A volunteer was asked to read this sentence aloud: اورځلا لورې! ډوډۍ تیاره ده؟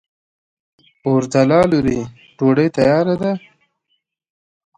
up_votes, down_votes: 2, 0